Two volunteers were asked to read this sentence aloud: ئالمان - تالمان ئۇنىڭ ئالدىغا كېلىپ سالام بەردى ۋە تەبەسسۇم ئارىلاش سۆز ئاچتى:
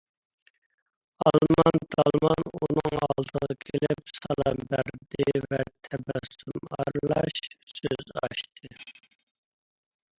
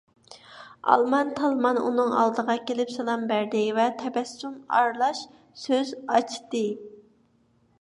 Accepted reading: second